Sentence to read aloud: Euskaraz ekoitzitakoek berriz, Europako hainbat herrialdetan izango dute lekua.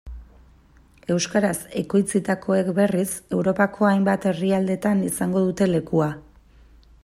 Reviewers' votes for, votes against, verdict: 2, 0, accepted